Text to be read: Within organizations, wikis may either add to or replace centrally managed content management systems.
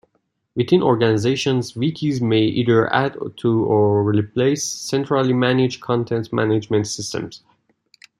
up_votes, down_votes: 2, 0